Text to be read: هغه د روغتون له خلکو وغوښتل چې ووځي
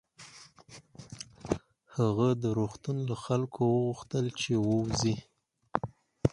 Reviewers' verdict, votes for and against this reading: accepted, 4, 2